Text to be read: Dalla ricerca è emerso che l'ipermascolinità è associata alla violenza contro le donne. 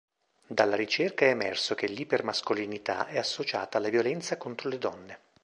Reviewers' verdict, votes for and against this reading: rejected, 1, 2